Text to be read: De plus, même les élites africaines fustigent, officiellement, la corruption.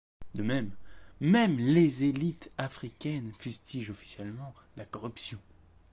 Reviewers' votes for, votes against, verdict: 0, 2, rejected